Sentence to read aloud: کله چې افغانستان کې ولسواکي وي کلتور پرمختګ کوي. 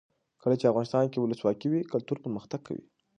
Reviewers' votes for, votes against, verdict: 2, 0, accepted